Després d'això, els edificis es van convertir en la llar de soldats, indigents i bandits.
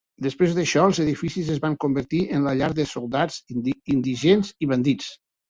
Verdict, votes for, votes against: rejected, 0, 2